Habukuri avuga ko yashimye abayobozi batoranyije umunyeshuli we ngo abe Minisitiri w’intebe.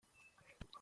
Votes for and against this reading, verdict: 0, 2, rejected